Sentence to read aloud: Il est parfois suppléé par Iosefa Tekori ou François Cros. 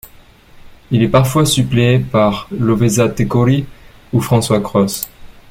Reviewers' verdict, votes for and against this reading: rejected, 1, 2